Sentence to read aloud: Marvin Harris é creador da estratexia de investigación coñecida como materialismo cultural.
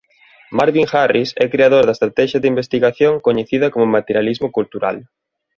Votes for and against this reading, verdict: 2, 0, accepted